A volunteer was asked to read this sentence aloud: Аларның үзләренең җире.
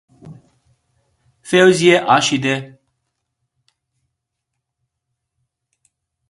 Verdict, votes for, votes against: rejected, 0, 2